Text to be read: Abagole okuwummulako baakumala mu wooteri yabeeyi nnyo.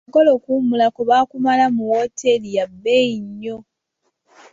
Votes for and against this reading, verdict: 0, 2, rejected